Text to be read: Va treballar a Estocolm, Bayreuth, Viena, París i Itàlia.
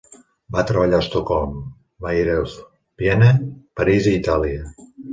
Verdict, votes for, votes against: accepted, 2, 1